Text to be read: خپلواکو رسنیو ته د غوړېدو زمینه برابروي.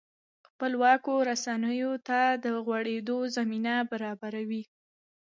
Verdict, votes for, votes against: accepted, 2, 0